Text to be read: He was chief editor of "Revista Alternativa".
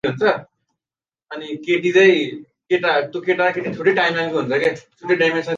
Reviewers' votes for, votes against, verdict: 0, 2, rejected